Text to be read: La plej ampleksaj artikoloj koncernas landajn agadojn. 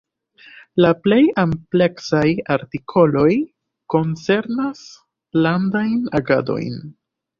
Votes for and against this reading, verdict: 2, 0, accepted